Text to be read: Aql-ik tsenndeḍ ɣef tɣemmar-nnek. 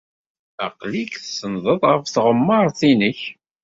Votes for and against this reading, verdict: 1, 2, rejected